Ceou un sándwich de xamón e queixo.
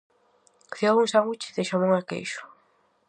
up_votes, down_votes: 4, 0